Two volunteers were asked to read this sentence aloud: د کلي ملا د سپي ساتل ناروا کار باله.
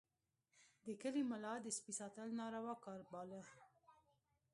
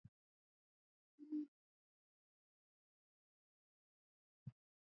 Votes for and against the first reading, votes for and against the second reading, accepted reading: 2, 1, 0, 2, first